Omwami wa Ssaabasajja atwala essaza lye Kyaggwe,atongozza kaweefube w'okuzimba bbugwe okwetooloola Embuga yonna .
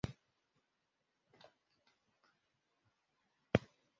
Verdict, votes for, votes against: rejected, 0, 2